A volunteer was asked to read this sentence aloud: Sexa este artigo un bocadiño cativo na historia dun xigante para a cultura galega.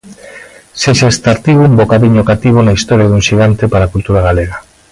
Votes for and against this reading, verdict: 2, 1, accepted